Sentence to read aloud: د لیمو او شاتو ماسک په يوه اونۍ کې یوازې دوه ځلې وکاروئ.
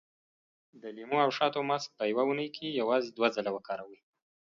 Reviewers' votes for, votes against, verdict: 2, 0, accepted